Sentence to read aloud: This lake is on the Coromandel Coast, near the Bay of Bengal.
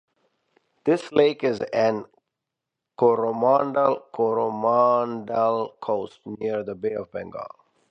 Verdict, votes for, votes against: rejected, 0, 2